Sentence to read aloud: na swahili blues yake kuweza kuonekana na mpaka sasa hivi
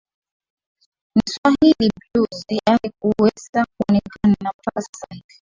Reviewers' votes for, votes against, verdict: 0, 2, rejected